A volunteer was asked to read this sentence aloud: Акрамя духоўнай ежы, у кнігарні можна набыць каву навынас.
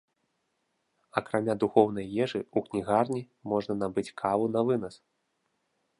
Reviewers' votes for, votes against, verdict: 2, 0, accepted